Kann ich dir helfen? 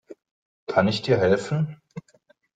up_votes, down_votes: 2, 0